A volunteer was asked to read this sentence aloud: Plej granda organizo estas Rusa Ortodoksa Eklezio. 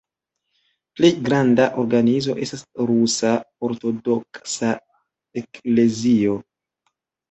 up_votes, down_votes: 2, 1